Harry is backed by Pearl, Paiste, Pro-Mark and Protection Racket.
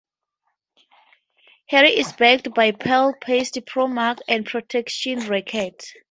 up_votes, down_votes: 2, 0